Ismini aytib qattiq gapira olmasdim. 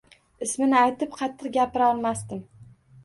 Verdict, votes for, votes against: accepted, 2, 0